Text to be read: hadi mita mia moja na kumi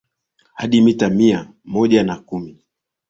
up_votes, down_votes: 2, 1